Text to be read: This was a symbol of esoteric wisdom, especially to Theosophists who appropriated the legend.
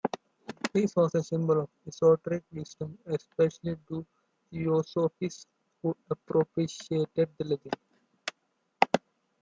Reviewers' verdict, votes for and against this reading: rejected, 0, 2